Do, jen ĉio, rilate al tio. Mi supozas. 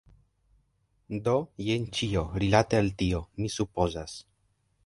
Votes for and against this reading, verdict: 2, 0, accepted